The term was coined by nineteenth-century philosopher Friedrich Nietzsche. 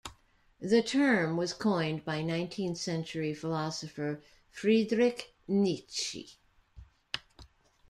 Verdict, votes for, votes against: rejected, 1, 2